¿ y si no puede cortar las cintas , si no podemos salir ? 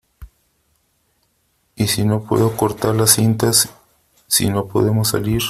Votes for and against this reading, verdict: 2, 0, accepted